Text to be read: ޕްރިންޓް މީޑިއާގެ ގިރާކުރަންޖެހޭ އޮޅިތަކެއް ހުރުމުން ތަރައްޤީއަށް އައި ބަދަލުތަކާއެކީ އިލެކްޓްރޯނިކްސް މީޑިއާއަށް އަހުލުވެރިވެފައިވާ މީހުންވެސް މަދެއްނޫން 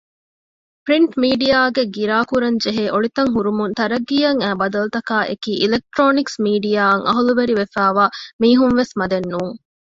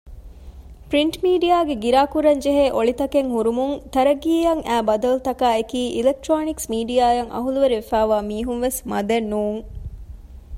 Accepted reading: second